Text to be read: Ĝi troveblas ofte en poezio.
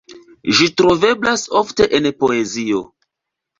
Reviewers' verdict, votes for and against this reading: accepted, 2, 0